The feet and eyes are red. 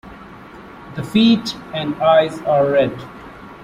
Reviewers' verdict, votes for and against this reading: accepted, 2, 0